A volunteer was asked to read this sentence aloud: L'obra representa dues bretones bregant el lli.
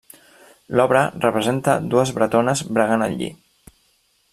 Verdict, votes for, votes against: accepted, 3, 0